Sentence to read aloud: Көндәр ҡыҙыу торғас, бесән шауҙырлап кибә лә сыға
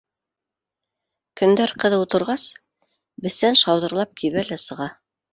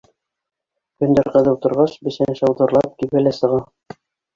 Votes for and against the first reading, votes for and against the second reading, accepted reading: 2, 0, 0, 2, first